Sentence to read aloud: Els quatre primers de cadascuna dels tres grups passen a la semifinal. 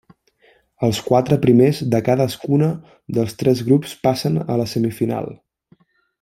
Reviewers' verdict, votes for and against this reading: accepted, 3, 0